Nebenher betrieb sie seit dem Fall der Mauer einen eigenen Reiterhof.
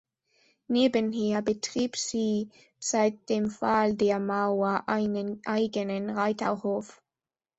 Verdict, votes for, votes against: accepted, 2, 0